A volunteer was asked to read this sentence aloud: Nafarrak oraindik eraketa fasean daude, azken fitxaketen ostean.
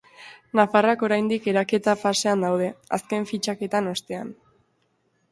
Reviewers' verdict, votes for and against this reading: rejected, 0, 2